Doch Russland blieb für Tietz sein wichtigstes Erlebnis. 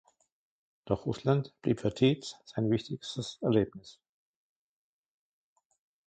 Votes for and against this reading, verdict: 2, 0, accepted